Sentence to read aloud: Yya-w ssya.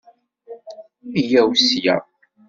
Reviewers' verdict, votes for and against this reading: accepted, 2, 0